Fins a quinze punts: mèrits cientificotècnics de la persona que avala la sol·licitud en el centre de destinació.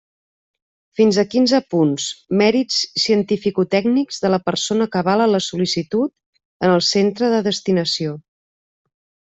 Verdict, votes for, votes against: accepted, 2, 0